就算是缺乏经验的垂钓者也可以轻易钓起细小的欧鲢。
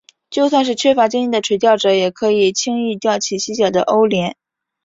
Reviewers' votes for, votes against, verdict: 4, 1, accepted